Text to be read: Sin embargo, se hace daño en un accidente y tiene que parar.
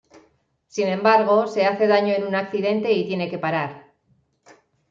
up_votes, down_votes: 1, 2